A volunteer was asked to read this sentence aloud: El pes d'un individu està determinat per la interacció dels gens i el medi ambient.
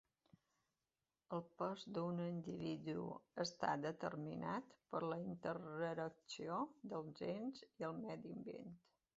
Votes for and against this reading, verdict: 0, 2, rejected